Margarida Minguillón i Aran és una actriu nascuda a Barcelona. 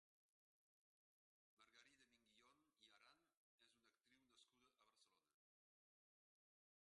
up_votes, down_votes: 0, 2